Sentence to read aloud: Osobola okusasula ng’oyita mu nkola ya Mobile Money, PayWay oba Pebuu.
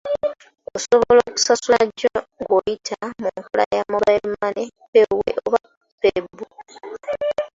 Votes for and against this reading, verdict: 0, 2, rejected